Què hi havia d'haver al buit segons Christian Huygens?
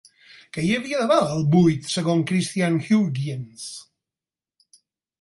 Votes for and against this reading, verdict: 0, 4, rejected